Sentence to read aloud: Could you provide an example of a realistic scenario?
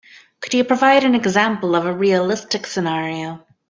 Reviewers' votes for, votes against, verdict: 3, 0, accepted